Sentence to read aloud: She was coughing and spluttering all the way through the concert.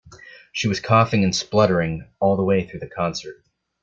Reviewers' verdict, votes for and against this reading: accepted, 2, 0